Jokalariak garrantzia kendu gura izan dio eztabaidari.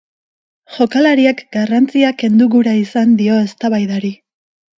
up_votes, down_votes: 4, 0